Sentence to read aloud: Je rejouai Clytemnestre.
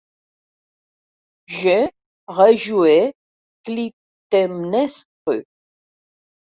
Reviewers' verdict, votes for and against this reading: rejected, 0, 2